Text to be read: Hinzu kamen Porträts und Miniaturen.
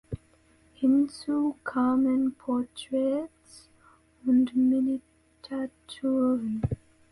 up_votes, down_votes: 0, 2